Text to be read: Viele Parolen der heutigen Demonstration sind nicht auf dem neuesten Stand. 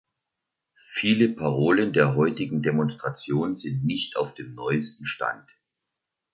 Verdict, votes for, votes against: accepted, 2, 0